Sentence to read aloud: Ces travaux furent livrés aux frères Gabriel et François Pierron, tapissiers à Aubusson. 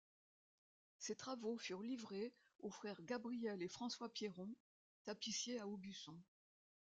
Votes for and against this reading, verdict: 2, 0, accepted